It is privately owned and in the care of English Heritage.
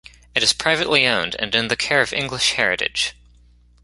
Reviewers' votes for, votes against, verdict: 1, 2, rejected